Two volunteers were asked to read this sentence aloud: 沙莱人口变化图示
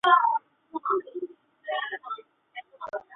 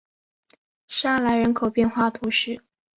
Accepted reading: second